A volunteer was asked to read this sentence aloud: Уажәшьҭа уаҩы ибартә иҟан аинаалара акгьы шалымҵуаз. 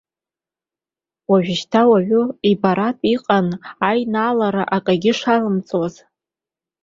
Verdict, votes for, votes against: accepted, 2, 0